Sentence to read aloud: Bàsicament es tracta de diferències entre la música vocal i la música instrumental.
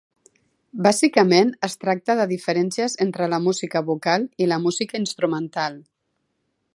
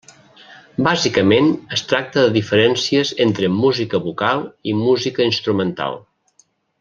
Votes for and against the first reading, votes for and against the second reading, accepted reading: 2, 0, 1, 2, first